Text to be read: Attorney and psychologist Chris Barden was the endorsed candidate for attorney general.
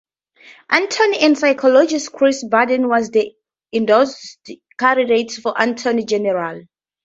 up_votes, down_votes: 2, 0